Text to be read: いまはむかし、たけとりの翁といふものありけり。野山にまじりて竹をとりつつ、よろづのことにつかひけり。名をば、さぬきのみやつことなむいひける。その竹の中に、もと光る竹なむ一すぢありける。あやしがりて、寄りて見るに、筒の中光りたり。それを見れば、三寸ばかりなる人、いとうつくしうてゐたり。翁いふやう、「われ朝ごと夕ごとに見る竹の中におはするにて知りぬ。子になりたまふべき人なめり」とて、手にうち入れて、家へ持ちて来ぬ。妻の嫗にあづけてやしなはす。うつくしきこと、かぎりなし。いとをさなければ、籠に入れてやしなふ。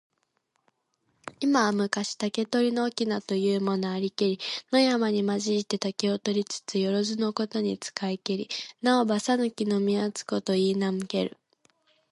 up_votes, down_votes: 1, 2